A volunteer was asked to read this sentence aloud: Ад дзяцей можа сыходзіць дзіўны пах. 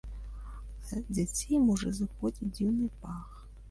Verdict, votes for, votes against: rejected, 1, 2